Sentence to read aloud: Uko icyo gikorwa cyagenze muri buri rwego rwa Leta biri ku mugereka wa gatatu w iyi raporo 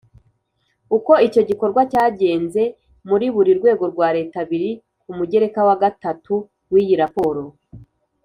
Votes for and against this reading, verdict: 3, 0, accepted